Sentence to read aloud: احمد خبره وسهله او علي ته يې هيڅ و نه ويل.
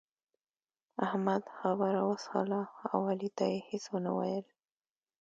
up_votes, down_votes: 1, 2